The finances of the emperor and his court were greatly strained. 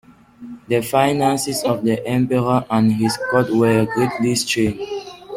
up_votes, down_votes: 0, 2